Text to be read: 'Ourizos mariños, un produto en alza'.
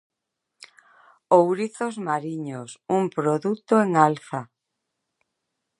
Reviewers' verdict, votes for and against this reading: accepted, 2, 0